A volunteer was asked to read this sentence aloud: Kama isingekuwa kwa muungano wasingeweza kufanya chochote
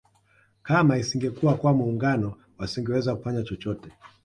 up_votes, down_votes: 2, 0